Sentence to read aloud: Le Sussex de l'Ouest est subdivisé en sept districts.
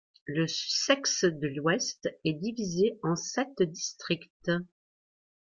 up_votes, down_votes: 0, 2